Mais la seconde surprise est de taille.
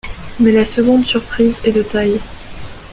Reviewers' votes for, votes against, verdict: 2, 0, accepted